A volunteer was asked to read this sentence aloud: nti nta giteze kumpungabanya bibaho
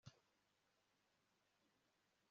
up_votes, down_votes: 1, 2